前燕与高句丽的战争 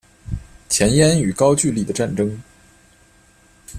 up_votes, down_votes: 2, 0